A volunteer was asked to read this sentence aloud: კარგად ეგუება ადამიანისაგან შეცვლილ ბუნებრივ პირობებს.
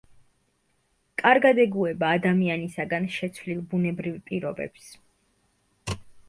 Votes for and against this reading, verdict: 2, 0, accepted